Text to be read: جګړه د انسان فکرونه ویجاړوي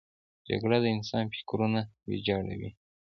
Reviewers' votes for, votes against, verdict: 3, 0, accepted